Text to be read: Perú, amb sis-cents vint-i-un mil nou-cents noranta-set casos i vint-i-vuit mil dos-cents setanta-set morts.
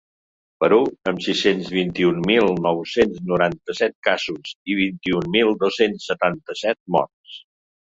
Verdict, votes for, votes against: rejected, 1, 2